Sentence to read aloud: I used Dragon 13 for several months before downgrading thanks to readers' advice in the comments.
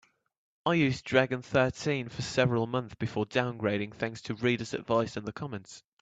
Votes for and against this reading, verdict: 0, 2, rejected